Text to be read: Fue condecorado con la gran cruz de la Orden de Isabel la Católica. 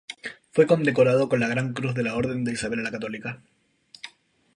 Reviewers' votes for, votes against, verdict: 2, 0, accepted